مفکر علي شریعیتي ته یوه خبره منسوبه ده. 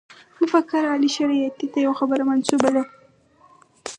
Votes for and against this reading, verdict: 2, 2, rejected